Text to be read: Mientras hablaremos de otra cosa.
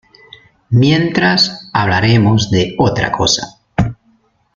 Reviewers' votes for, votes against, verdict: 2, 0, accepted